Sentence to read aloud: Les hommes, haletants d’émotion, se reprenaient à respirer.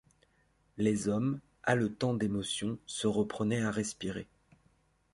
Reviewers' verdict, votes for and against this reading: rejected, 1, 2